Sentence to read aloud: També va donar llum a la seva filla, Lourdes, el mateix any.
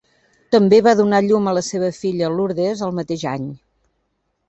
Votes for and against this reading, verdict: 1, 2, rejected